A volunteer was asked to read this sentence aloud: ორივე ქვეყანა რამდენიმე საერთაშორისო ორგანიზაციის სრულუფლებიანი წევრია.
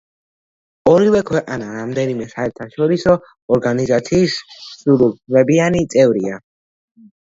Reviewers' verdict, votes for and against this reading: rejected, 1, 2